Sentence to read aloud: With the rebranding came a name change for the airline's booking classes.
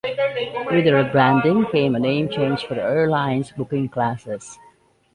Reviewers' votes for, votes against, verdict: 2, 1, accepted